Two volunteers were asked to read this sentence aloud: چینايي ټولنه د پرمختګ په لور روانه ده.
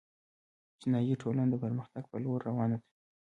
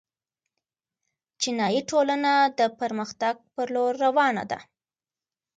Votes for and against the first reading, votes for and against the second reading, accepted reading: 1, 2, 2, 0, second